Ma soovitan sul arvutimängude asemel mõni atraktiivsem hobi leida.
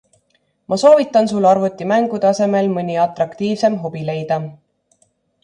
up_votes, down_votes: 2, 0